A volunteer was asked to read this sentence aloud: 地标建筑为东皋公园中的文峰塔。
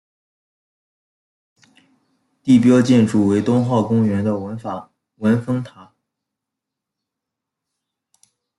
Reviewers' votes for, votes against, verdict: 1, 2, rejected